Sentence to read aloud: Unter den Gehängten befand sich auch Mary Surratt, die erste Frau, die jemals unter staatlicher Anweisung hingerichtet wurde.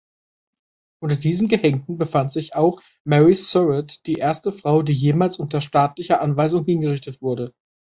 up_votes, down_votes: 0, 2